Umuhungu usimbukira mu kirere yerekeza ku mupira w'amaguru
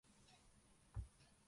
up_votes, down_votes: 0, 2